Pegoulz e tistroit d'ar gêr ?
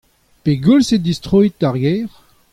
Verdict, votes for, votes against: accepted, 2, 0